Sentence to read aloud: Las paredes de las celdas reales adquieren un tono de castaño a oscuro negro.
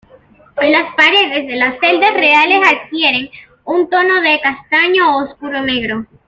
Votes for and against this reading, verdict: 0, 2, rejected